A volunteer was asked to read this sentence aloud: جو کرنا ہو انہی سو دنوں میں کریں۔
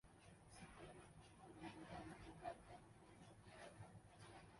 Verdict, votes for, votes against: rejected, 0, 2